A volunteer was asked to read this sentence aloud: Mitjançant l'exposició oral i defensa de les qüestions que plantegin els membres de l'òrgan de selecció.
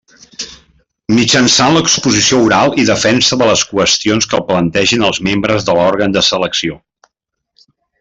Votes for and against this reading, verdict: 3, 0, accepted